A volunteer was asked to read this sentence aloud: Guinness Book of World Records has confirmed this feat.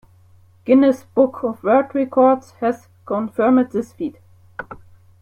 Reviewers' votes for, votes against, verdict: 0, 2, rejected